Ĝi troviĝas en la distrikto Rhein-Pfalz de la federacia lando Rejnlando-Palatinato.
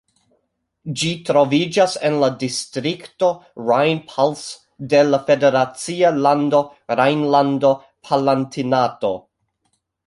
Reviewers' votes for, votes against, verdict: 1, 3, rejected